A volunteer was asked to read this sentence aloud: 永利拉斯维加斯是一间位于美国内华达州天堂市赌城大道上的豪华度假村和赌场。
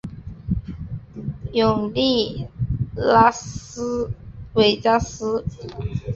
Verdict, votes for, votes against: rejected, 0, 2